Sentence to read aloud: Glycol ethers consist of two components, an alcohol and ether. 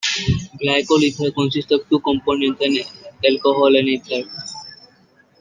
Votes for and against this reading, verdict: 2, 0, accepted